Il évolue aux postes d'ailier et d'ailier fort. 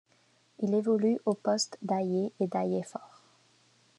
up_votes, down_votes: 0, 2